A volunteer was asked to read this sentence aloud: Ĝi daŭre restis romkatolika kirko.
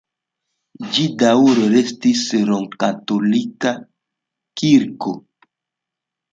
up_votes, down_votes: 2, 0